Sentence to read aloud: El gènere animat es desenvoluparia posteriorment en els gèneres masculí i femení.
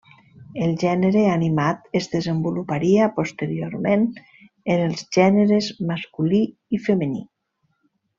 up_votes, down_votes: 3, 0